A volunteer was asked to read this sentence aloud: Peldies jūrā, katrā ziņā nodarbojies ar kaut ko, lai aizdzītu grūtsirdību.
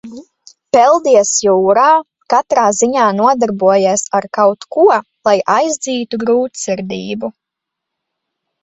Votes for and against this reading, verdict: 1, 2, rejected